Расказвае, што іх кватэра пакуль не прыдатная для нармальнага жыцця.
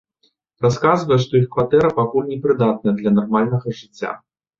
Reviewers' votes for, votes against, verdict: 2, 0, accepted